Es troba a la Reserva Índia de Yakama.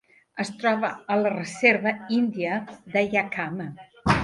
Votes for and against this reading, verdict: 3, 0, accepted